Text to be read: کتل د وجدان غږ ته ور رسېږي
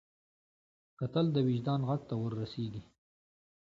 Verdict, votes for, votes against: accepted, 2, 0